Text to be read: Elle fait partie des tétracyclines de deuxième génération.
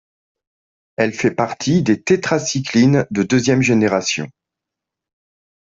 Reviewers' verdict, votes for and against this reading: accepted, 2, 0